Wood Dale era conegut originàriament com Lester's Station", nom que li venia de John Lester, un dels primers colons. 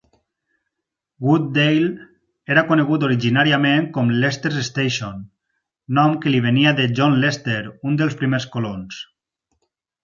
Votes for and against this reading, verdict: 4, 0, accepted